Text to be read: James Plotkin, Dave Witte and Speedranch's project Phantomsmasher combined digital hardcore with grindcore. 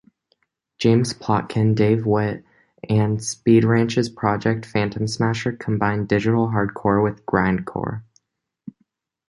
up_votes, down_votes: 2, 0